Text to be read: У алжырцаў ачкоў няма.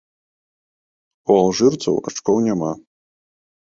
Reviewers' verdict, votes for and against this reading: accepted, 2, 1